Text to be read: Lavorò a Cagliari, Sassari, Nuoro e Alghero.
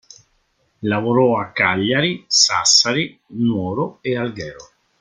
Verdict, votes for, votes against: accepted, 2, 0